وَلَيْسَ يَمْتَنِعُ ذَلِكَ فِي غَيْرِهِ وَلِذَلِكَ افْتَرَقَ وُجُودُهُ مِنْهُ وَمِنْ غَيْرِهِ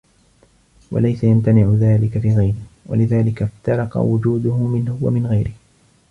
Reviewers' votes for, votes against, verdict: 2, 1, accepted